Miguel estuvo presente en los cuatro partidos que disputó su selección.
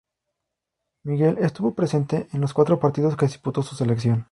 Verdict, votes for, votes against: rejected, 2, 2